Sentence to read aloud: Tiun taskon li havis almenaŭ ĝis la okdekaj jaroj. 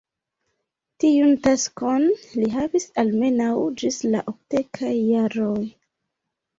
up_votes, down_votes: 2, 0